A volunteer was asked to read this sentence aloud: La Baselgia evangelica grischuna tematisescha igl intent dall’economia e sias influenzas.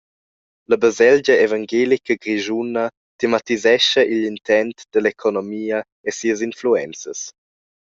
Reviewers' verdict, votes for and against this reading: rejected, 0, 2